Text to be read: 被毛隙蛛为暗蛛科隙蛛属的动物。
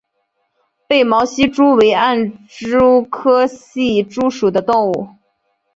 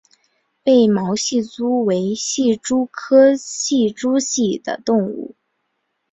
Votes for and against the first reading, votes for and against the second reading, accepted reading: 2, 0, 2, 4, first